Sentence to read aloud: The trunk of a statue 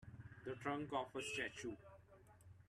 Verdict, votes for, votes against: rejected, 0, 2